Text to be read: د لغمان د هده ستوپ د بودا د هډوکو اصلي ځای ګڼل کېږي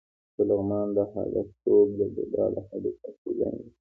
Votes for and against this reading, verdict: 0, 2, rejected